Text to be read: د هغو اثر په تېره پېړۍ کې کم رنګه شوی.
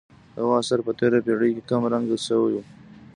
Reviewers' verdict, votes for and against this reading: accepted, 2, 0